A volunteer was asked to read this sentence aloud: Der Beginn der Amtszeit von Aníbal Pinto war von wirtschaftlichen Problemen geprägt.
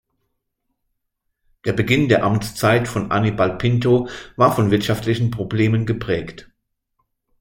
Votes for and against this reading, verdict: 2, 0, accepted